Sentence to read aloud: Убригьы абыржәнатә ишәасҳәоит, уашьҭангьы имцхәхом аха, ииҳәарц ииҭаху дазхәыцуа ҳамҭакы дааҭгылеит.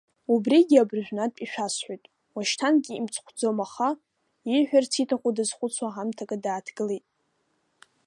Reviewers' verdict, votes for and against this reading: accepted, 2, 0